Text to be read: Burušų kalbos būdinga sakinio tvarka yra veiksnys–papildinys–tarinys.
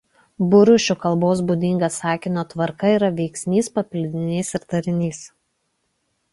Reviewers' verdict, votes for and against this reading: rejected, 1, 2